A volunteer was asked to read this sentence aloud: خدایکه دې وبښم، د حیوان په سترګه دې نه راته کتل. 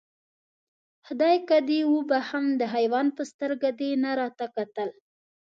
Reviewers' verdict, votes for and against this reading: accepted, 2, 0